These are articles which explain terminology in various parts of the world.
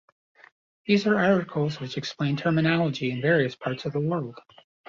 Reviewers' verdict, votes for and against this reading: accepted, 2, 0